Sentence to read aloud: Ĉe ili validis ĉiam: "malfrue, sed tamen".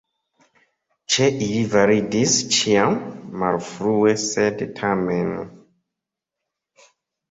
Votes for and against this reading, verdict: 2, 0, accepted